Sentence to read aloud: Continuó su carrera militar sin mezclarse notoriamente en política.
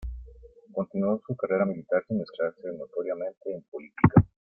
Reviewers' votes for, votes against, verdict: 2, 0, accepted